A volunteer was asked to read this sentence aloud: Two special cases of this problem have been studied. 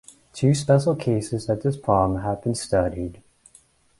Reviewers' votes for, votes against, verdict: 2, 0, accepted